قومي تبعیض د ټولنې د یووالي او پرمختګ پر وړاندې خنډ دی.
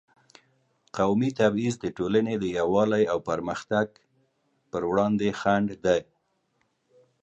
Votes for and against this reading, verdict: 1, 2, rejected